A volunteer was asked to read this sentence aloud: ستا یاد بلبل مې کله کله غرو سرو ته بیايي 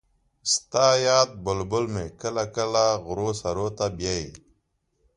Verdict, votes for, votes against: accepted, 2, 0